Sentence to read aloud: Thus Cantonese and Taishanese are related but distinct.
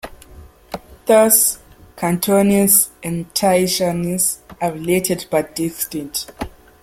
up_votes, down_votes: 0, 2